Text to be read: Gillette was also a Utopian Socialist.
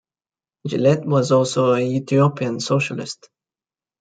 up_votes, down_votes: 1, 2